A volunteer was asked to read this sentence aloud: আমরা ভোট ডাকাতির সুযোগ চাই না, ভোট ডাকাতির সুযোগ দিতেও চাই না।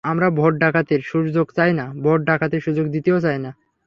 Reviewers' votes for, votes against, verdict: 0, 3, rejected